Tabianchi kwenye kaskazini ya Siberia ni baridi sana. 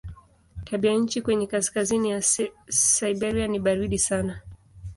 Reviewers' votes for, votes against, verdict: 2, 0, accepted